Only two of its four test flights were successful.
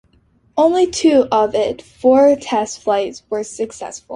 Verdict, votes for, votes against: accepted, 2, 0